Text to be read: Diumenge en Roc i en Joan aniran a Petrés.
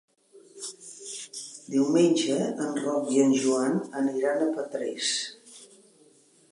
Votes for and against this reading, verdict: 3, 1, accepted